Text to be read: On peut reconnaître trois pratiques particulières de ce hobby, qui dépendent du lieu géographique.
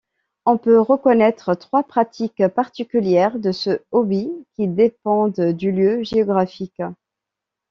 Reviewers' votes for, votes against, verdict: 2, 0, accepted